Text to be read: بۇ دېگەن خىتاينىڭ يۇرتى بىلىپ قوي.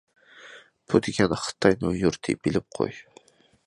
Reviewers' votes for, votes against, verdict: 2, 0, accepted